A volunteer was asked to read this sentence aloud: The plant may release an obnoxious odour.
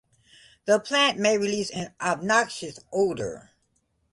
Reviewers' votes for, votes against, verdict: 2, 0, accepted